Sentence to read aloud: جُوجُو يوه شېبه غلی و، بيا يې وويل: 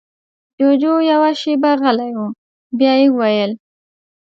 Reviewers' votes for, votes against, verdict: 2, 0, accepted